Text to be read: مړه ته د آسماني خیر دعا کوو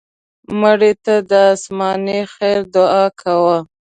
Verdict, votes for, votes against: rejected, 0, 2